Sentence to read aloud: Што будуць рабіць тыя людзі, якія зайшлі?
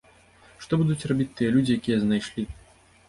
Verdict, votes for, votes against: rejected, 1, 2